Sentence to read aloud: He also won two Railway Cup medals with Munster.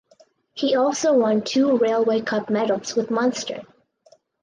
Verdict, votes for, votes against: accepted, 4, 0